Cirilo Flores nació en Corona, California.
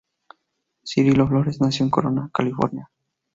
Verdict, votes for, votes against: accepted, 2, 0